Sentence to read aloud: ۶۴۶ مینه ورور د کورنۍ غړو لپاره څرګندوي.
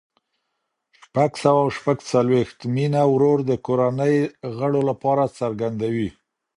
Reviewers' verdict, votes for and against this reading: rejected, 0, 2